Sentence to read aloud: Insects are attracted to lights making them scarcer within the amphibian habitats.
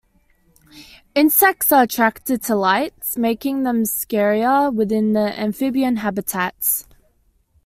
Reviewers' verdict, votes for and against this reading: rejected, 1, 2